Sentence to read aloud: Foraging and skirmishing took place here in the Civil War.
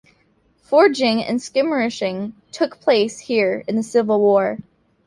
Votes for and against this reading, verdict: 0, 2, rejected